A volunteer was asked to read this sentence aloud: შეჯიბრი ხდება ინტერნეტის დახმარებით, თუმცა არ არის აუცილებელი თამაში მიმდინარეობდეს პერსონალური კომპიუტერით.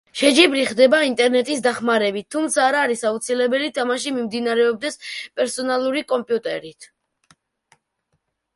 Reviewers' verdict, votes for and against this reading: rejected, 0, 2